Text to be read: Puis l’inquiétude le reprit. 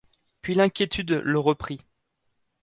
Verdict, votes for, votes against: accepted, 2, 0